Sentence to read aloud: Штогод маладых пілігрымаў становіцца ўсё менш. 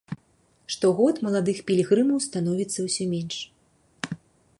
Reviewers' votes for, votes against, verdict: 3, 0, accepted